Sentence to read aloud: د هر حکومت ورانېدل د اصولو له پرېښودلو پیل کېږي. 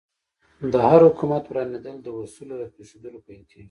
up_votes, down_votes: 2, 0